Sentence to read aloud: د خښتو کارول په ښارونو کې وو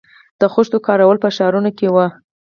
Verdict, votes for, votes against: accepted, 6, 0